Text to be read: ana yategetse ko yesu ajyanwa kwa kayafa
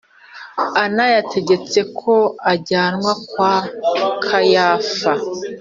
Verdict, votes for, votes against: rejected, 0, 2